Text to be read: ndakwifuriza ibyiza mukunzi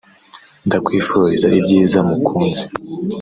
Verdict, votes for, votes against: accepted, 3, 0